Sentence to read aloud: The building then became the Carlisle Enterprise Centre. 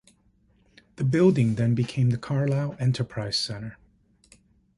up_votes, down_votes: 1, 2